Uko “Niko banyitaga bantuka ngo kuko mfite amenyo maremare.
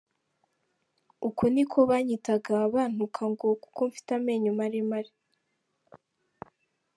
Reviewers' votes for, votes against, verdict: 2, 0, accepted